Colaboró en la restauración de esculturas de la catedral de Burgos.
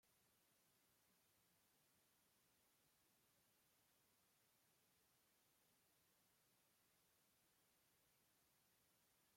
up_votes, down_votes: 0, 2